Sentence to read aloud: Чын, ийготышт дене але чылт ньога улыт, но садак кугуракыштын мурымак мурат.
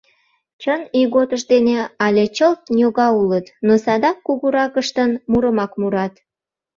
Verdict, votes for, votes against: accepted, 2, 0